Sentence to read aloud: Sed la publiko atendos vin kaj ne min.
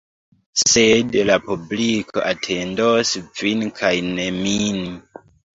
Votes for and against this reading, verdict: 0, 2, rejected